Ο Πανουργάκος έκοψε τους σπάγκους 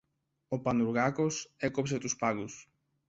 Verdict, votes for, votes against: rejected, 0, 2